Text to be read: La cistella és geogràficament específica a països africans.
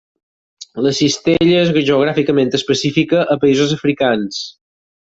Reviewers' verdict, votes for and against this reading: accepted, 6, 0